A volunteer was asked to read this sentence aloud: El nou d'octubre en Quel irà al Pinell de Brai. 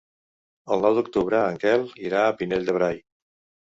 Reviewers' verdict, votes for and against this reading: rejected, 0, 2